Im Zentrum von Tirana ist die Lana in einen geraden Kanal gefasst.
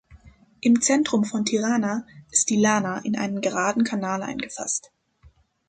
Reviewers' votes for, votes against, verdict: 1, 2, rejected